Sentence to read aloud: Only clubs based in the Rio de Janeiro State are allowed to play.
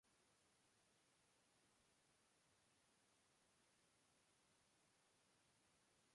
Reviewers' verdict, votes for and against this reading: rejected, 0, 2